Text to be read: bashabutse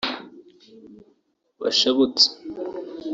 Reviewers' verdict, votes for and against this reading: accepted, 2, 0